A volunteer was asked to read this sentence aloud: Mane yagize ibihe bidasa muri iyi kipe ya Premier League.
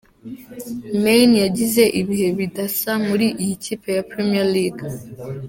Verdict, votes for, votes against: accepted, 2, 0